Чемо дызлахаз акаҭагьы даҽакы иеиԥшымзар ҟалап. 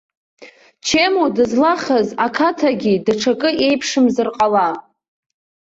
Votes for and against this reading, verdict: 1, 2, rejected